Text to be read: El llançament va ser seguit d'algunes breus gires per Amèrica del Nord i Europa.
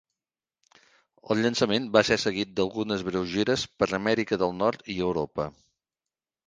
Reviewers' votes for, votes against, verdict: 2, 0, accepted